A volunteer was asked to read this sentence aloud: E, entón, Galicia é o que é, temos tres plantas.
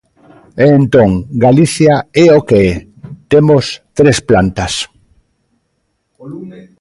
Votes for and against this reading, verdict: 2, 0, accepted